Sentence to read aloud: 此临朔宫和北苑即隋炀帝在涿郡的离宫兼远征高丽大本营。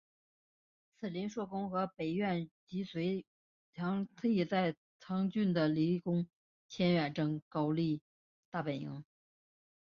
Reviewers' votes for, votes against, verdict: 0, 3, rejected